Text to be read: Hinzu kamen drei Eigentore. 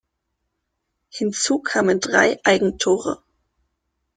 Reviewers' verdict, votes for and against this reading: accepted, 2, 0